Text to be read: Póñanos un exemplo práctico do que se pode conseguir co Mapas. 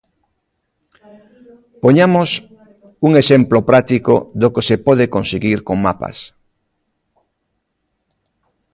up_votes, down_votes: 0, 2